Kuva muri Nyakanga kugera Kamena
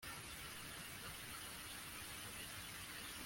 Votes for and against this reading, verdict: 0, 2, rejected